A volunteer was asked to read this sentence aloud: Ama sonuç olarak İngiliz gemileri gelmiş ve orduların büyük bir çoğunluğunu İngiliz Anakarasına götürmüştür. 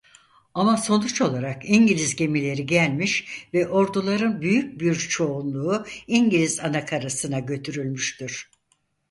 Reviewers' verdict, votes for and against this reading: rejected, 0, 4